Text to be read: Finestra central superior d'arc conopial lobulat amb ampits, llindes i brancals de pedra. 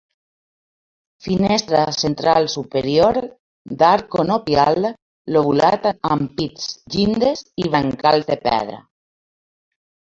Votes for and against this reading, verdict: 0, 2, rejected